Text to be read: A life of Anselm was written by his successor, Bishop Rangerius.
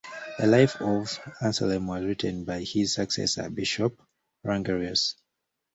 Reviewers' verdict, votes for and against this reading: rejected, 1, 2